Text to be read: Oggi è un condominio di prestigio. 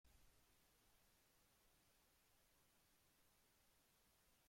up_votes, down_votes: 0, 2